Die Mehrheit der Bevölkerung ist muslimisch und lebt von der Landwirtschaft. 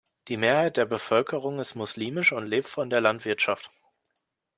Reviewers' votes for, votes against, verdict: 2, 0, accepted